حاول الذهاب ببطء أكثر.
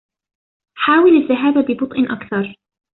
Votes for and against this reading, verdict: 2, 0, accepted